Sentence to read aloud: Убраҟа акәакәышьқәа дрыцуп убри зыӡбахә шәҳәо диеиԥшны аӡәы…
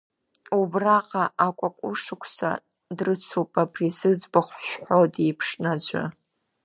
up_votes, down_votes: 1, 2